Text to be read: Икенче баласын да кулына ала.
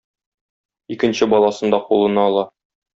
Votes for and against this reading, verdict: 2, 0, accepted